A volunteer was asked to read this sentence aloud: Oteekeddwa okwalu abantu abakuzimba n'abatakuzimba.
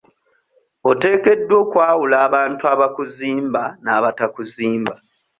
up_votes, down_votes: 2, 0